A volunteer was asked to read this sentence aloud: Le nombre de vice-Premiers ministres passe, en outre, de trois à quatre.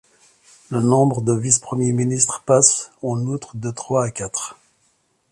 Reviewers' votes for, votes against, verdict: 2, 0, accepted